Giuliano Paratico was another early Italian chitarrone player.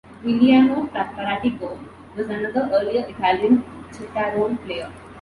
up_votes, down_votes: 1, 2